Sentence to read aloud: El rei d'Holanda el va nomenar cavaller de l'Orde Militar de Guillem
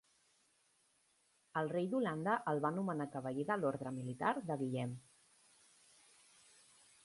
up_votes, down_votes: 1, 2